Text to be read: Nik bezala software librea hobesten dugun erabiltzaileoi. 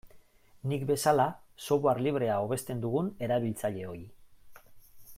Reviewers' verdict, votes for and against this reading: accepted, 3, 0